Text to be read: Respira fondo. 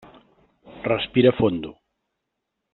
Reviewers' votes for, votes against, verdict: 3, 0, accepted